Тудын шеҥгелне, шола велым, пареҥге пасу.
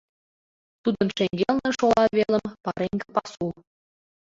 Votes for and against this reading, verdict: 2, 1, accepted